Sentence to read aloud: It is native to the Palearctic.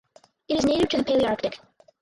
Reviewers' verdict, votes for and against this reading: rejected, 0, 6